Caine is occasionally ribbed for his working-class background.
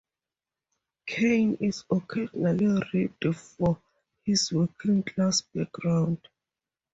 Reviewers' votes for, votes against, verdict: 4, 0, accepted